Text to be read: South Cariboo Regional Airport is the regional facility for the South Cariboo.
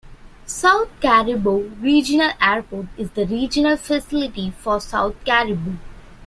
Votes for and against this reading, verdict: 2, 0, accepted